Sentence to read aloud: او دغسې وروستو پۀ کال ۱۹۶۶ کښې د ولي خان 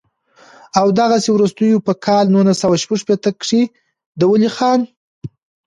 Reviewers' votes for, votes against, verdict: 0, 2, rejected